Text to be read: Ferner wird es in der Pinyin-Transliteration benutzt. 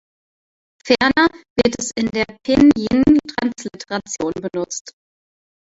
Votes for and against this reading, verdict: 1, 2, rejected